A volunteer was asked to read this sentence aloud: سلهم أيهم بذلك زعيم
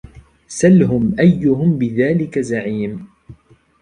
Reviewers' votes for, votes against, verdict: 2, 0, accepted